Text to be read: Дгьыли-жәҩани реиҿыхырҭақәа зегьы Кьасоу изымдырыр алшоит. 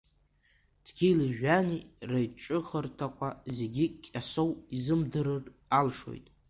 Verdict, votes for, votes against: accepted, 2, 1